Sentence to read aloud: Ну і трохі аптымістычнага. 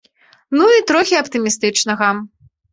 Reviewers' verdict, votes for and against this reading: accepted, 2, 0